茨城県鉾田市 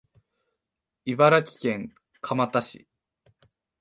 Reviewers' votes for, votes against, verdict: 1, 2, rejected